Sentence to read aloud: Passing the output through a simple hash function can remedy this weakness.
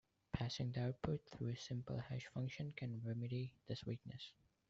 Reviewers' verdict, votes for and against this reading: accepted, 2, 0